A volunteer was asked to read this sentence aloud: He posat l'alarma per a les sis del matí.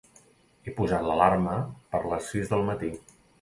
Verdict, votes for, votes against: rejected, 1, 2